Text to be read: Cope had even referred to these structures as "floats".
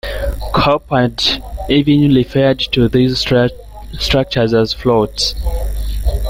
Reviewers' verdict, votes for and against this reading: rejected, 2, 3